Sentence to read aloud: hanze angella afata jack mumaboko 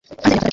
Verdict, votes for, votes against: rejected, 1, 2